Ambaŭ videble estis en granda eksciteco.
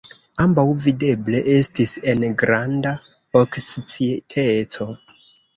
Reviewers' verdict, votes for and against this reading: rejected, 1, 2